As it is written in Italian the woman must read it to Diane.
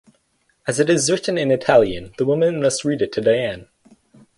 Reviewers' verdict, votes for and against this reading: accepted, 4, 0